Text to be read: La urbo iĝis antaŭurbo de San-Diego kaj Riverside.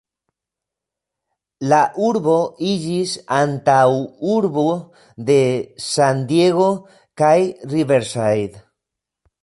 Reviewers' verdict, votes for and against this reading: rejected, 0, 2